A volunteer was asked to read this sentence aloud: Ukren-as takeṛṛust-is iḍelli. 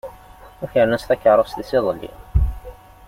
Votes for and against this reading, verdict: 2, 0, accepted